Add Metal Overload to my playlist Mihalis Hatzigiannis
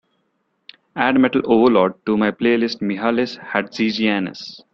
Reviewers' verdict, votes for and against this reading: accepted, 2, 0